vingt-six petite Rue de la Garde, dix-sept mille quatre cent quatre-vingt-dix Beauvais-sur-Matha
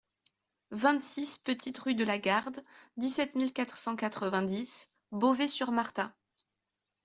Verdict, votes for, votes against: rejected, 0, 2